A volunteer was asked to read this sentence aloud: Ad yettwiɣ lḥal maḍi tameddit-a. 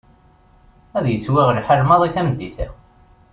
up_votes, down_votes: 2, 0